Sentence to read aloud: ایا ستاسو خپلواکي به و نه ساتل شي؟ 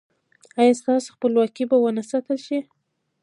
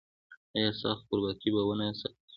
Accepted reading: second